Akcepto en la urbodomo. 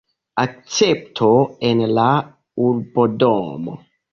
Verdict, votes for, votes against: rejected, 1, 2